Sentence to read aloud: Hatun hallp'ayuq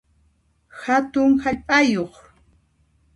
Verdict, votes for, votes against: accepted, 2, 0